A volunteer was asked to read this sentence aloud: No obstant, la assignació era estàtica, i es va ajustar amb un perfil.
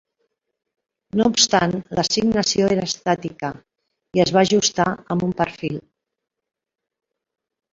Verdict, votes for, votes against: accepted, 3, 2